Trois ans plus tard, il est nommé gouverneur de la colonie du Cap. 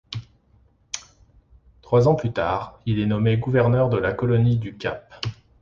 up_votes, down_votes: 2, 0